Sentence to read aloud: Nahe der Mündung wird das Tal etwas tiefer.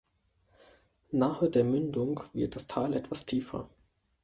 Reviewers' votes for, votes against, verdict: 2, 0, accepted